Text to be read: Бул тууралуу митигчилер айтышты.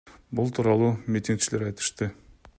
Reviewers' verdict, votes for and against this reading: accepted, 2, 0